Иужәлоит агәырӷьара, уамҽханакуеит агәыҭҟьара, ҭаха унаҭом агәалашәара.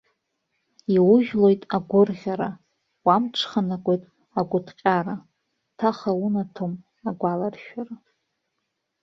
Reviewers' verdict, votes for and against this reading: rejected, 0, 2